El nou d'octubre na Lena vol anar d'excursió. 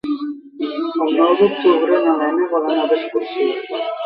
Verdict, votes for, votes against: rejected, 1, 3